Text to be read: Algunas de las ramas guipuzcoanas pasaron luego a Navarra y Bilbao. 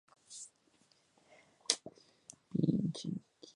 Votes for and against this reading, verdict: 0, 2, rejected